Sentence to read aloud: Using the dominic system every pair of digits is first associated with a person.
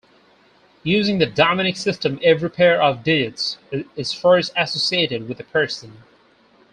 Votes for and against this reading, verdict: 2, 2, rejected